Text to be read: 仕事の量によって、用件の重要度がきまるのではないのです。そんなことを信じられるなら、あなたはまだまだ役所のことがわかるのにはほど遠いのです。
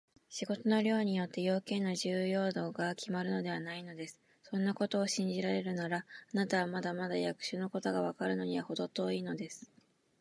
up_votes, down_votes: 2, 0